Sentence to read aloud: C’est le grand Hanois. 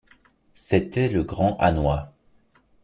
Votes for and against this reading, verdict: 0, 2, rejected